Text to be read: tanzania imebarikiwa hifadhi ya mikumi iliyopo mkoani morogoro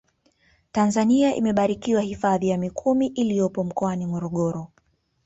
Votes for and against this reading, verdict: 0, 2, rejected